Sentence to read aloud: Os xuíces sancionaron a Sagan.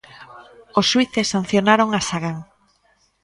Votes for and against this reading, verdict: 1, 2, rejected